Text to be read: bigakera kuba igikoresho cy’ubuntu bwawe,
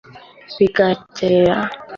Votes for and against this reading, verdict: 1, 2, rejected